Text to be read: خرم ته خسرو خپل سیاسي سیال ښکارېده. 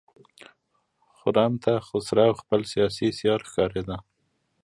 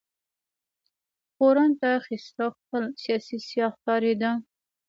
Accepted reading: first